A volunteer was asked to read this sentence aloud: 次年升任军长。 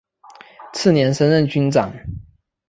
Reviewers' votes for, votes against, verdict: 2, 1, accepted